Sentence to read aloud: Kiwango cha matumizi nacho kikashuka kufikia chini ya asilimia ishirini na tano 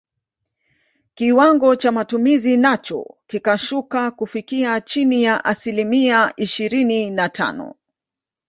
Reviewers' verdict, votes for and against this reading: accepted, 2, 0